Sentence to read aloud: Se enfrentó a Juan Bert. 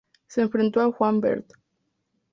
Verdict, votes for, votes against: accepted, 4, 0